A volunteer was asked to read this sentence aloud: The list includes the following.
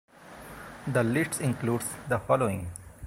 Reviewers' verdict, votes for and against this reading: rejected, 1, 2